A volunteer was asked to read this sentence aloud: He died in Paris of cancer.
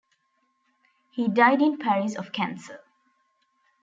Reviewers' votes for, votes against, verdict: 2, 0, accepted